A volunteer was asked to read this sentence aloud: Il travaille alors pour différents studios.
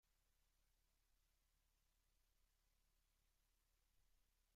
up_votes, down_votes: 0, 2